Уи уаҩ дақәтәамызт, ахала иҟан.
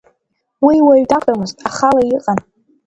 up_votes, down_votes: 3, 1